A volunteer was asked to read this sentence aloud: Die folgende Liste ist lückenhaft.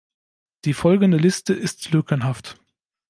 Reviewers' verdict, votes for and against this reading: accepted, 2, 0